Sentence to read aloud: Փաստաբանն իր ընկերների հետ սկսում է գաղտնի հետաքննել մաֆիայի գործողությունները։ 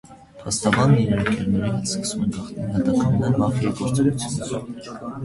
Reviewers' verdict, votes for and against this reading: rejected, 0, 2